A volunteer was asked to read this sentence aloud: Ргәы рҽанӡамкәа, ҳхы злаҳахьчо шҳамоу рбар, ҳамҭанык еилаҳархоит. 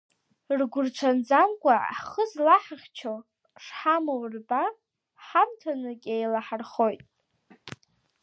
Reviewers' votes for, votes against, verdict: 2, 0, accepted